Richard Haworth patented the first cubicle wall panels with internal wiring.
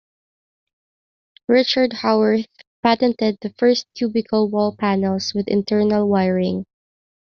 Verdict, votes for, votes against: accepted, 2, 0